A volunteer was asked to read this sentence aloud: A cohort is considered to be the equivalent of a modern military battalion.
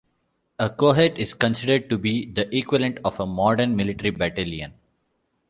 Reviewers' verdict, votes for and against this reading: accepted, 2, 0